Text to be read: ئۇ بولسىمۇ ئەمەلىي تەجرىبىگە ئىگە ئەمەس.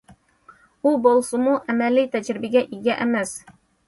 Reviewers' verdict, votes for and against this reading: accepted, 2, 0